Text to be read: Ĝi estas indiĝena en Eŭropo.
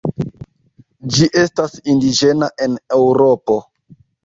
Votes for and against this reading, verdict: 2, 0, accepted